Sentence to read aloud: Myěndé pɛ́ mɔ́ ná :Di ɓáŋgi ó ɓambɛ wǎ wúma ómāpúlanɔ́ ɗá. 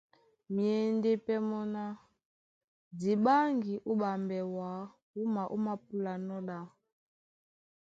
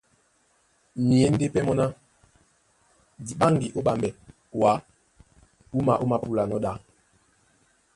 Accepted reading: first